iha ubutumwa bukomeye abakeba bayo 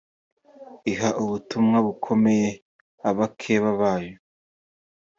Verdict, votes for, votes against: accepted, 2, 1